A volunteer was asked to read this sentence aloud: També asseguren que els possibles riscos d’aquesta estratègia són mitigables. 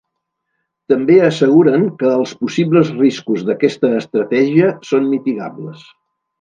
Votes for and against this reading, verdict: 2, 0, accepted